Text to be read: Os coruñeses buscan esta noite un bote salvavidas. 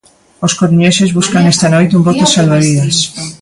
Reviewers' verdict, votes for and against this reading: rejected, 1, 2